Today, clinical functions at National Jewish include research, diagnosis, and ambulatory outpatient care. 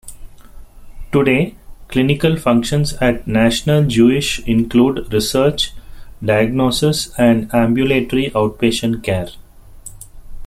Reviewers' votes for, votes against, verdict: 2, 0, accepted